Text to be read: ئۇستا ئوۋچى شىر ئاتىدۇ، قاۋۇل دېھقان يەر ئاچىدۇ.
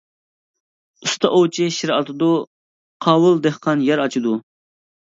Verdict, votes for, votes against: accepted, 2, 0